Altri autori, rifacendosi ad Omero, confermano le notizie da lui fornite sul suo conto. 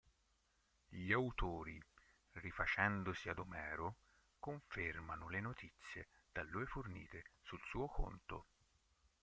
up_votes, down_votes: 0, 2